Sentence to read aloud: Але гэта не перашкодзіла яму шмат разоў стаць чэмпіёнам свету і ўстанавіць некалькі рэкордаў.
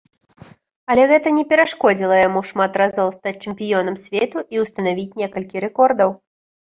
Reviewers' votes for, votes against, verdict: 2, 0, accepted